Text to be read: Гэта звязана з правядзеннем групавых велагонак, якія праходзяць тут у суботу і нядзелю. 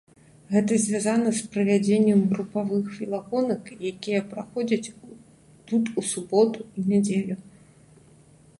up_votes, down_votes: 1, 2